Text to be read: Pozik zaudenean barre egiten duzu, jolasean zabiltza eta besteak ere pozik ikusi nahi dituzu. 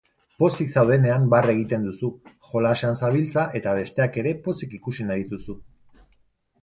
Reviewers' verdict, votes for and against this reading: accepted, 2, 0